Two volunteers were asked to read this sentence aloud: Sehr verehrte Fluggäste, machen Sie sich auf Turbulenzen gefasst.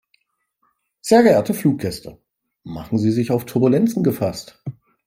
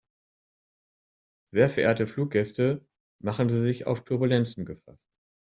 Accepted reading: second